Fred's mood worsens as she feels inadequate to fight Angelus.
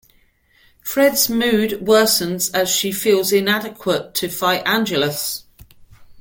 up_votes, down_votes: 2, 0